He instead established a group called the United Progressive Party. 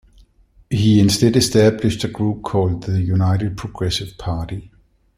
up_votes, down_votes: 2, 0